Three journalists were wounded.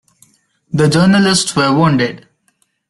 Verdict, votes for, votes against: rejected, 0, 2